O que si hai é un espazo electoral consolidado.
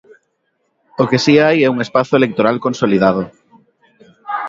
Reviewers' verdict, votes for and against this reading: accepted, 2, 0